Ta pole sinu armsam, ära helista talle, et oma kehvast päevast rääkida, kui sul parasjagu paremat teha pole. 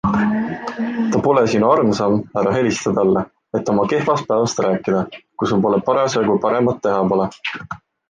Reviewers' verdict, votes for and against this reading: accepted, 2, 1